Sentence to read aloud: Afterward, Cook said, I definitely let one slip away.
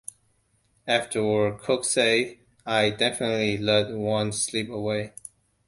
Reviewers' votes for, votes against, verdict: 1, 2, rejected